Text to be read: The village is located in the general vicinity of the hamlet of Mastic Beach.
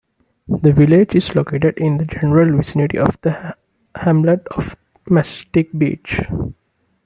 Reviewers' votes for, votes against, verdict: 1, 2, rejected